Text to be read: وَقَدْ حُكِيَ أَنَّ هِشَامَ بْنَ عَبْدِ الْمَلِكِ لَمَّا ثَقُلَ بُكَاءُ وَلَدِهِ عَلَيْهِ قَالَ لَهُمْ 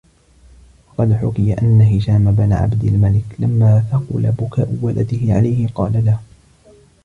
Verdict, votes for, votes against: rejected, 0, 2